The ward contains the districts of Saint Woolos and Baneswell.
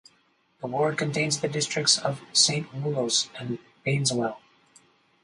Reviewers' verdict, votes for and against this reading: accepted, 4, 0